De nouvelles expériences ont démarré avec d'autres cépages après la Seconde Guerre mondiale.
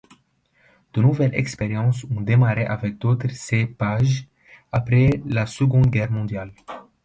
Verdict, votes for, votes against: accepted, 2, 1